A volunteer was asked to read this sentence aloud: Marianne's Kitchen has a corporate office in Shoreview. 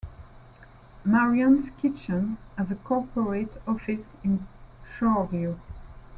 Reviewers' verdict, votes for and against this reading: accepted, 2, 0